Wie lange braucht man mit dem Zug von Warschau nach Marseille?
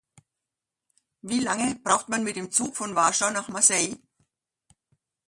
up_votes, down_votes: 2, 0